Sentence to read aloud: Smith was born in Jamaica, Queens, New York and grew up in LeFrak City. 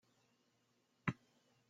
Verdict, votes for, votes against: rejected, 0, 2